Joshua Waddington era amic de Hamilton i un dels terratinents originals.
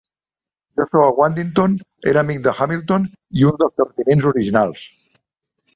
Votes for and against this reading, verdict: 2, 1, accepted